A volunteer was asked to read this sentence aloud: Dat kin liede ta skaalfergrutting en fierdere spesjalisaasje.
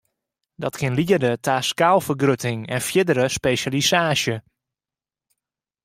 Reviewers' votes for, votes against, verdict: 2, 0, accepted